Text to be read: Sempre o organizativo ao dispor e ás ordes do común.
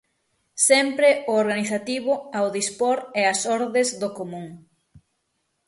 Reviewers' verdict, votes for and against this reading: accepted, 6, 0